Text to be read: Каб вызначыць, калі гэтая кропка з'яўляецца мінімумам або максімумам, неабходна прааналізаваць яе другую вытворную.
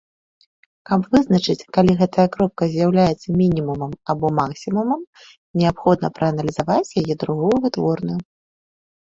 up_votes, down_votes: 2, 0